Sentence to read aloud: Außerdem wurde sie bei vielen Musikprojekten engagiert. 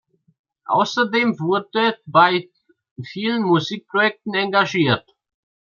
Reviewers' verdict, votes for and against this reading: rejected, 0, 2